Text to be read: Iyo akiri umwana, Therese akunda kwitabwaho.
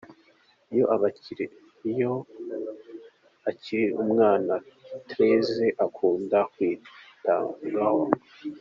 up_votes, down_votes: 1, 2